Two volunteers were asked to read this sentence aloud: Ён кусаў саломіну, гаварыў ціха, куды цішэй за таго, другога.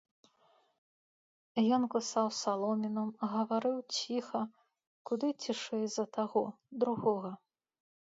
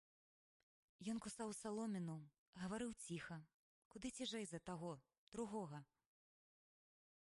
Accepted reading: first